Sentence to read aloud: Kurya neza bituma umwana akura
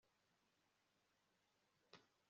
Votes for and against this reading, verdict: 1, 2, rejected